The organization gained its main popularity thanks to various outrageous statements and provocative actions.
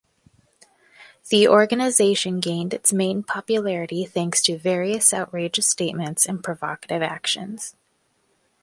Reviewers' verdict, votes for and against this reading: accepted, 2, 0